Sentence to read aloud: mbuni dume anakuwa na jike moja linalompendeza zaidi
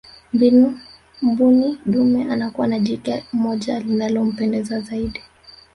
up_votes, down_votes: 1, 2